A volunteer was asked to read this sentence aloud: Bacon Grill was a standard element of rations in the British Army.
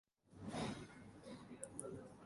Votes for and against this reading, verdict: 0, 2, rejected